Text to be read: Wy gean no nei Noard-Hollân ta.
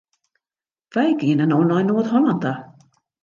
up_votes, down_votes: 2, 0